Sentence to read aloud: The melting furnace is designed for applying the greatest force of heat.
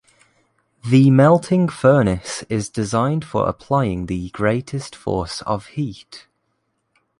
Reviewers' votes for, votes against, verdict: 3, 0, accepted